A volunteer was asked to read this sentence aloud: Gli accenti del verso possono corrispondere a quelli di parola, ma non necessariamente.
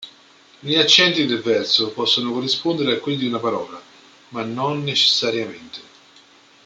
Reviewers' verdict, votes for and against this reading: rejected, 1, 2